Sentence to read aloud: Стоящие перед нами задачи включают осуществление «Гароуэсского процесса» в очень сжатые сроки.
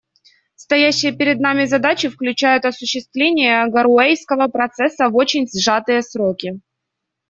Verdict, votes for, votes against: rejected, 0, 2